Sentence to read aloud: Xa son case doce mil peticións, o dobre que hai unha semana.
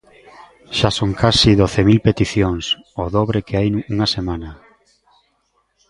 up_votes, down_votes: 0, 2